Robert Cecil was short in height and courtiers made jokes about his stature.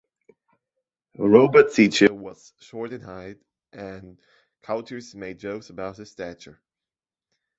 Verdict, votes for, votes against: rejected, 1, 2